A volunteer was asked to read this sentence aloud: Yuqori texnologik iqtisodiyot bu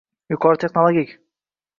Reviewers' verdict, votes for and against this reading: rejected, 0, 3